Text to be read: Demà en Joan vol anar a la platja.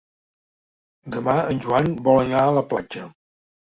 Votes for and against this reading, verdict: 3, 0, accepted